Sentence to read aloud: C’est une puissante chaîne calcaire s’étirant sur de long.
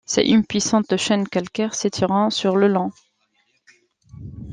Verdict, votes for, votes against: rejected, 0, 2